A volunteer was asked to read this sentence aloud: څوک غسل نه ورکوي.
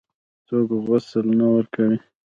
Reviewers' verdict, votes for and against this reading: accepted, 2, 0